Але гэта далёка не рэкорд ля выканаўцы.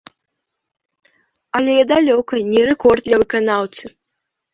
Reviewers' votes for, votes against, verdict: 0, 2, rejected